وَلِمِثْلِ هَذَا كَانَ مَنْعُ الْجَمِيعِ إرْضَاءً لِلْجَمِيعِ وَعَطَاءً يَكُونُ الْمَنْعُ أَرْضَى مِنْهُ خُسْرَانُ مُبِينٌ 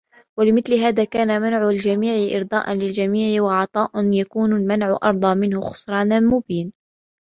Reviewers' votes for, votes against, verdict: 2, 0, accepted